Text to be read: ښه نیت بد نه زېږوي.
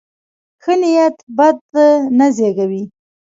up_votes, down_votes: 2, 0